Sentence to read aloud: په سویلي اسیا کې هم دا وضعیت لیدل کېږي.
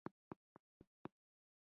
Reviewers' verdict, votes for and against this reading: rejected, 1, 2